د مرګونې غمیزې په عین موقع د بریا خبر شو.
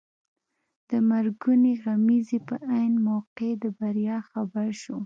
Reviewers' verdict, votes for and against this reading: accepted, 2, 0